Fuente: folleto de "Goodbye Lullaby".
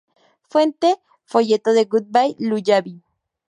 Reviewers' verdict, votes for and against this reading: rejected, 2, 2